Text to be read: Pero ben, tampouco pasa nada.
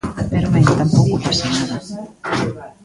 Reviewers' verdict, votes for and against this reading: rejected, 0, 2